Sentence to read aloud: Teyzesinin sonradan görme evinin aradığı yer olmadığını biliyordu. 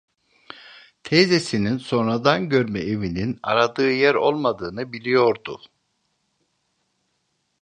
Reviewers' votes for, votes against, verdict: 2, 0, accepted